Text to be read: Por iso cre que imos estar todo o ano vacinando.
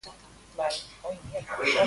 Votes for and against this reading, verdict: 0, 2, rejected